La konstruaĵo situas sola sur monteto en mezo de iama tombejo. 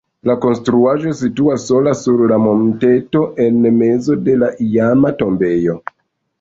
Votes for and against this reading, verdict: 1, 2, rejected